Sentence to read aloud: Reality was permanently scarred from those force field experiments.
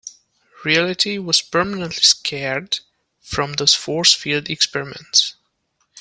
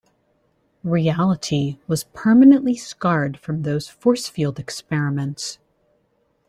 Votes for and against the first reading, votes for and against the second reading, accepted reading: 1, 2, 2, 0, second